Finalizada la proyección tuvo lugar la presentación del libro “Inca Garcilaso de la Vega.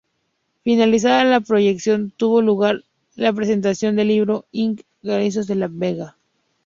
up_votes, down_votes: 0, 2